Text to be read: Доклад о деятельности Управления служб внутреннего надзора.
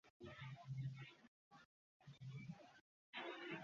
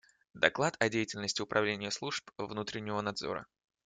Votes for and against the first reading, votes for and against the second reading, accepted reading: 0, 2, 2, 0, second